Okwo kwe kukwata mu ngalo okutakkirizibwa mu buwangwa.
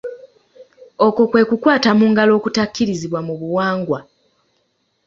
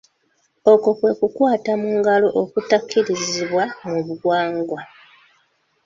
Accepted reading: first